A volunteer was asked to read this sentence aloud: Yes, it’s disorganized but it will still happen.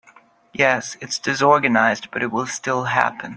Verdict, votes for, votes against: accepted, 4, 0